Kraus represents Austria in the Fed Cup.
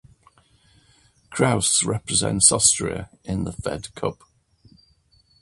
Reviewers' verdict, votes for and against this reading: accepted, 2, 0